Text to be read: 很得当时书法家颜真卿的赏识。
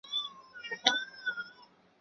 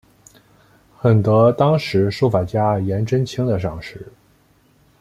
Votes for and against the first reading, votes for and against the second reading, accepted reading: 0, 4, 2, 0, second